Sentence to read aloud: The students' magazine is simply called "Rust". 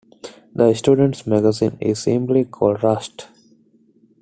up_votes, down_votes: 2, 0